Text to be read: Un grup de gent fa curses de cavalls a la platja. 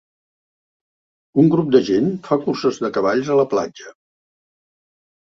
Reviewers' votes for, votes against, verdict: 2, 0, accepted